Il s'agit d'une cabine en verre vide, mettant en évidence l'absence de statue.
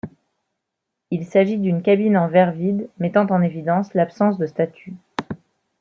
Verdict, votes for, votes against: accepted, 2, 0